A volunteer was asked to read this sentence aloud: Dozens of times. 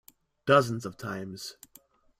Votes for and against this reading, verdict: 2, 0, accepted